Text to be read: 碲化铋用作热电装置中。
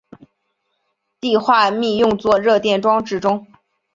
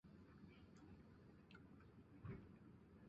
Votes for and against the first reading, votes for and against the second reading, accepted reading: 2, 0, 0, 3, first